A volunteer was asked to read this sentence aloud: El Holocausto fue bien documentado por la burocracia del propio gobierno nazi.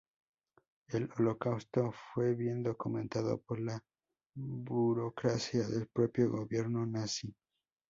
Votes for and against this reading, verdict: 2, 2, rejected